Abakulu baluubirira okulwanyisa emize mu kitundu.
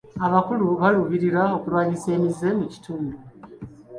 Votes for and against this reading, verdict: 1, 2, rejected